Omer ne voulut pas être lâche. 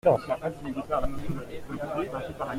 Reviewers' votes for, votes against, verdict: 0, 2, rejected